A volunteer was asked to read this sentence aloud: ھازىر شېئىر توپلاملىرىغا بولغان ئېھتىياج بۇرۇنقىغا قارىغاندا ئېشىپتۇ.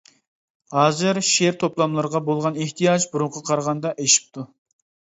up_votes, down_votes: 2, 0